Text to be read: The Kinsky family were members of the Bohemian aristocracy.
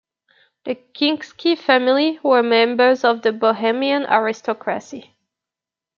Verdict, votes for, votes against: rejected, 0, 2